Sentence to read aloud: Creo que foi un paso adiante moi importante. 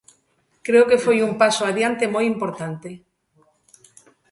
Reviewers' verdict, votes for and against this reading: accepted, 3, 0